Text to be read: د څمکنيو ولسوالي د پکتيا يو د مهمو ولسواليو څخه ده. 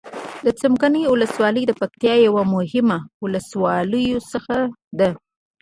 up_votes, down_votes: 1, 2